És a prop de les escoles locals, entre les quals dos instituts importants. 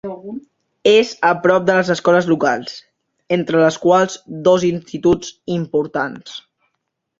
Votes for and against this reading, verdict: 1, 2, rejected